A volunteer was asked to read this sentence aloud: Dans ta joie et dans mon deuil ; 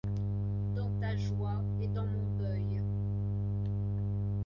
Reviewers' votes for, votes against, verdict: 0, 2, rejected